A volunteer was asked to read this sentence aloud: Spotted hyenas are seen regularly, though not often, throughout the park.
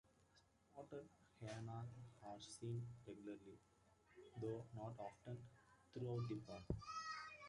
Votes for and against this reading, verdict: 0, 2, rejected